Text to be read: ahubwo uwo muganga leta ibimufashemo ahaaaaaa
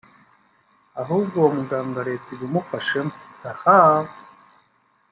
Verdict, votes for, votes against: accepted, 2, 1